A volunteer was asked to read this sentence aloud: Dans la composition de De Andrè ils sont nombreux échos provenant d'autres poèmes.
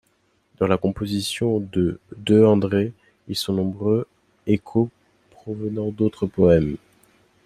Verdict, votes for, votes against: accepted, 2, 0